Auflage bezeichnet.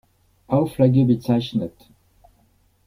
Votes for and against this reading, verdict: 2, 0, accepted